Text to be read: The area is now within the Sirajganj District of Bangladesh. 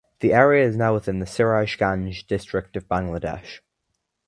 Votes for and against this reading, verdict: 2, 0, accepted